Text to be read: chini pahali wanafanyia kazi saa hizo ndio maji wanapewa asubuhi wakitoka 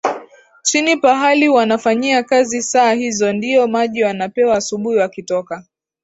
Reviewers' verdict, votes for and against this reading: rejected, 0, 2